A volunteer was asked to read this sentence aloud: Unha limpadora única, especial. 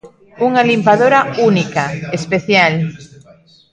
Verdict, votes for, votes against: rejected, 1, 2